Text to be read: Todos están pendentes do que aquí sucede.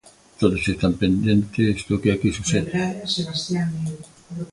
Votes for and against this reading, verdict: 1, 2, rejected